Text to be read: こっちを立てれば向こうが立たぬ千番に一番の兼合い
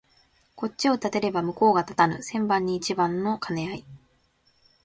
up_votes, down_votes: 3, 0